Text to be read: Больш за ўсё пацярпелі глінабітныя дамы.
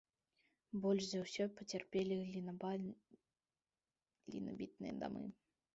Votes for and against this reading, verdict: 0, 2, rejected